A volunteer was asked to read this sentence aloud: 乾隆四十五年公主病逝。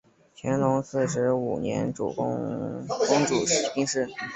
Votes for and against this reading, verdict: 0, 2, rejected